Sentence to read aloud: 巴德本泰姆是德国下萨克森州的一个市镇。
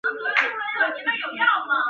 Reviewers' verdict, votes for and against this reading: rejected, 1, 3